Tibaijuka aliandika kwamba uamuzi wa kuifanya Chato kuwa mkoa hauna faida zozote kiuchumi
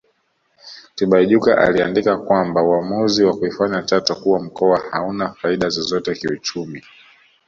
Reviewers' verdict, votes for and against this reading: accepted, 2, 1